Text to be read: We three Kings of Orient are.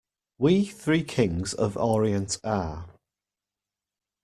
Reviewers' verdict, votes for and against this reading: rejected, 1, 2